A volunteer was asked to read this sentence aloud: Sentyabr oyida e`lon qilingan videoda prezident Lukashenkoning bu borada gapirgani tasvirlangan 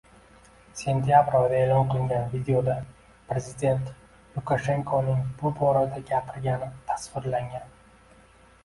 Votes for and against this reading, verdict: 2, 0, accepted